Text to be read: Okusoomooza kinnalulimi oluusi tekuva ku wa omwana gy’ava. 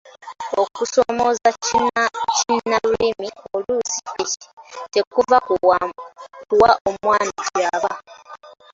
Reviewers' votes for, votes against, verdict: 0, 2, rejected